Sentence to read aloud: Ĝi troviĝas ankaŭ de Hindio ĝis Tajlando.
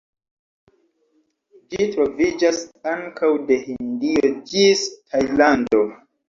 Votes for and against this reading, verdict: 0, 2, rejected